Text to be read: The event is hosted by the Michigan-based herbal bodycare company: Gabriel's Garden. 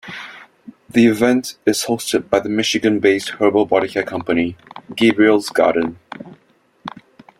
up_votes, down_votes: 2, 0